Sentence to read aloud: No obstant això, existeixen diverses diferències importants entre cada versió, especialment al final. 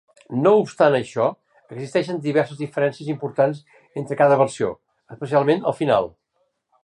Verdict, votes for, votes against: accepted, 3, 0